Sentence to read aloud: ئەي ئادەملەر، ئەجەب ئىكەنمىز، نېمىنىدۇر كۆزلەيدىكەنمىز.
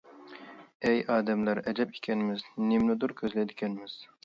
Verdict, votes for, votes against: rejected, 1, 2